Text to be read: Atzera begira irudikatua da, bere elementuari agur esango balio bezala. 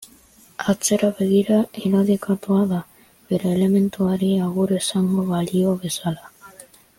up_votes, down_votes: 1, 2